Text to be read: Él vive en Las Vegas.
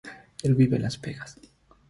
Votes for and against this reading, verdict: 3, 0, accepted